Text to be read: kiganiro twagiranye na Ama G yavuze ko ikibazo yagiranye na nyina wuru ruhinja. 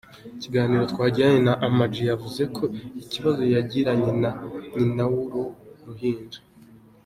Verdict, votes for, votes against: rejected, 2, 4